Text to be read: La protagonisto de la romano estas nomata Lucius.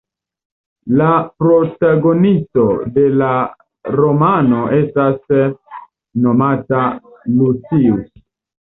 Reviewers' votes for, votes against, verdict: 1, 2, rejected